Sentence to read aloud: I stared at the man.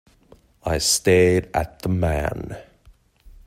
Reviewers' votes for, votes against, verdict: 2, 0, accepted